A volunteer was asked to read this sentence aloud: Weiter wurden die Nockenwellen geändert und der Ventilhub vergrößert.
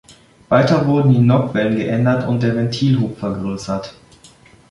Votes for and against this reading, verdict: 1, 2, rejected